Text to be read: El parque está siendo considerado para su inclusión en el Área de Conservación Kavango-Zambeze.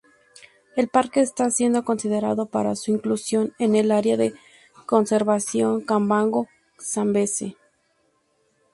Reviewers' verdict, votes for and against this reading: rejected, 0, 2